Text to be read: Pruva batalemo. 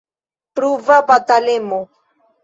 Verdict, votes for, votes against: rejected, 0, 2